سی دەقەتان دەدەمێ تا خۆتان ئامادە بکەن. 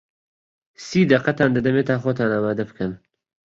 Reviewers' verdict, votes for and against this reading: accepted, 3, 0